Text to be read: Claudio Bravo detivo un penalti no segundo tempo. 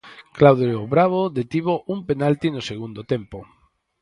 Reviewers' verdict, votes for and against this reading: accepted, 6, 0